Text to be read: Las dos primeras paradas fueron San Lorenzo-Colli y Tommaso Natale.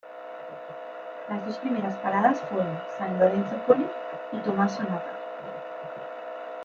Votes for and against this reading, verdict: 2, 1, accepted